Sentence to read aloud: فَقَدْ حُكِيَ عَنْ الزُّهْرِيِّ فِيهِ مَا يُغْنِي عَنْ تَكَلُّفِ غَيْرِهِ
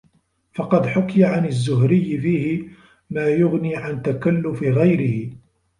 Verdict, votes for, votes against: rejected, 1, 2